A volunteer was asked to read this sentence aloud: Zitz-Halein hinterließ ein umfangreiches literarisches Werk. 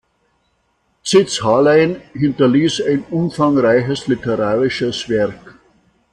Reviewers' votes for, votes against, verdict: 2, 0, accepted